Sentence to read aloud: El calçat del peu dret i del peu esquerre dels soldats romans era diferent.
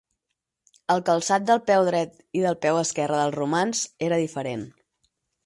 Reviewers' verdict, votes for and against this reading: rejected, 0, 4